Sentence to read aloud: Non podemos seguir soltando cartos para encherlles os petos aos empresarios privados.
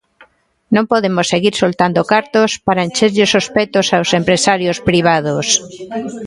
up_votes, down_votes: 1, 2